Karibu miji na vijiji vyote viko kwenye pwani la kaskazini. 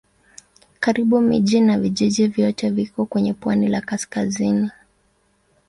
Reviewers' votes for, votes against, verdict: 2, 0, accepted